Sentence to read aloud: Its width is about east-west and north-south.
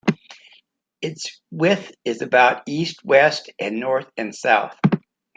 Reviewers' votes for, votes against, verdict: 2, 1, accepted